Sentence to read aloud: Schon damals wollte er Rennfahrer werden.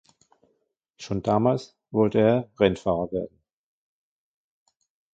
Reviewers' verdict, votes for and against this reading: accepted, 2, 1